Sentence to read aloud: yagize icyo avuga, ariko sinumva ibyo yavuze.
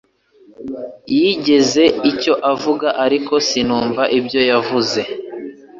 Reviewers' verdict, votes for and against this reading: accepted, 2, 0